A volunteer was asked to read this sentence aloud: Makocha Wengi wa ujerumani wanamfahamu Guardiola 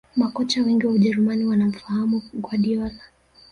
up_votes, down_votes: 1, 2